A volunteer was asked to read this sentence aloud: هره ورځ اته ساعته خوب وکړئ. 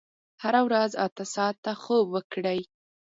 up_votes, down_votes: 4, 0